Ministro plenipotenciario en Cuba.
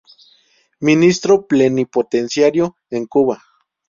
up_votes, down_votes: 2, 0